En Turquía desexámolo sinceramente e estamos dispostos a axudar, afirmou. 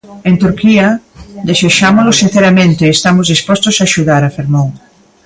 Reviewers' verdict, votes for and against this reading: accepted, 2, 1